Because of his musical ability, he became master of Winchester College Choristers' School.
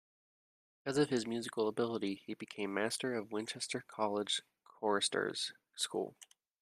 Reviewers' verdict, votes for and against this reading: accepted, 2, 0